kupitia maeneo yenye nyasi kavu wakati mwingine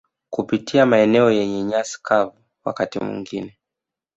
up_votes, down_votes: 0, 2